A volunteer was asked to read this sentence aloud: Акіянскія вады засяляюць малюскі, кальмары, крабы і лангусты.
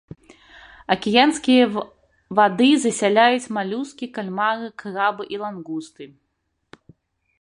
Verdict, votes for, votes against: rejected, 1, 2